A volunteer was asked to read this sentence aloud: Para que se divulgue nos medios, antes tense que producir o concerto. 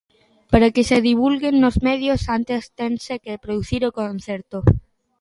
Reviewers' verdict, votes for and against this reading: accepted, 2, 1